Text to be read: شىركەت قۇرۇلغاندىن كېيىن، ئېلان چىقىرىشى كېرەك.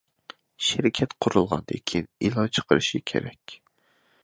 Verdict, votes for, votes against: accepted, 2, 0